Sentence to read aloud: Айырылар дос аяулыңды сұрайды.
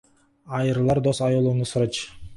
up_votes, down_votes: 2, 4